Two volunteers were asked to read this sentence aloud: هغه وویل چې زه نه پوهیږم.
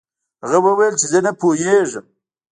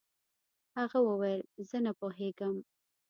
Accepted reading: second